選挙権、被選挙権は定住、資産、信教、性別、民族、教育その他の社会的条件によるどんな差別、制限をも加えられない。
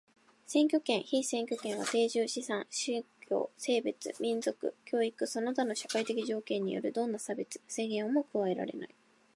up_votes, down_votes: 2, 1